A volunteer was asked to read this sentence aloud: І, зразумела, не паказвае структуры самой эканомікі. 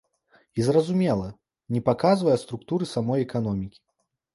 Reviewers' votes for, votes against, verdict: 2, 0, accepted